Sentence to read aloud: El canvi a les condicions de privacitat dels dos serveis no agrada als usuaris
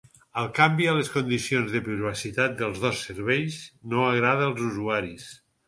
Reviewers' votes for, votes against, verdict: 4, 0, accepted